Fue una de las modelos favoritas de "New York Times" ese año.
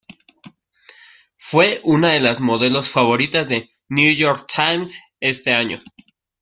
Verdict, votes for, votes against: rejected, 1, 2